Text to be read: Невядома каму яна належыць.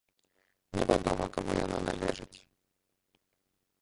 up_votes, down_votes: 0, 2